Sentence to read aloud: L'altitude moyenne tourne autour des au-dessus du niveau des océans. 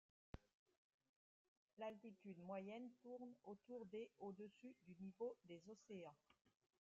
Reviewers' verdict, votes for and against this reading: rejected, 0, 2